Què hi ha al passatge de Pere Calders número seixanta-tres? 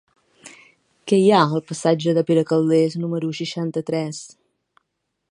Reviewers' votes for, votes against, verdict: 2, 1, accepted